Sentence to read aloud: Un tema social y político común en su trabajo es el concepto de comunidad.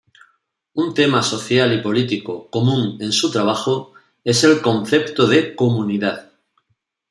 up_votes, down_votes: 2, 0